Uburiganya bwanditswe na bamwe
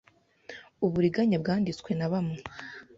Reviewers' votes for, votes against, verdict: 2, 0, accepted